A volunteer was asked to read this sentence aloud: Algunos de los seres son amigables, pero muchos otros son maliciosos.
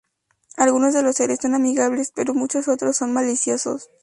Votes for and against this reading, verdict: 4, 0, accepted